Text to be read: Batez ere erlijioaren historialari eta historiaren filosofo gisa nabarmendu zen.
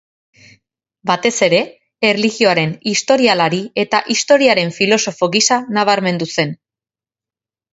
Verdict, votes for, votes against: accepted, 2, 0